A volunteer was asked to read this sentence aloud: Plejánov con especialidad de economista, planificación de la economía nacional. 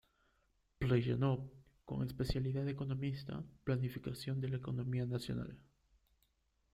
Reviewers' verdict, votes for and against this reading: accepted, 2, 0